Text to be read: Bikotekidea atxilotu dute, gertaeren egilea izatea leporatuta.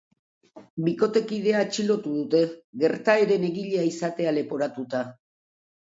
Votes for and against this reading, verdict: 2, 0, accepted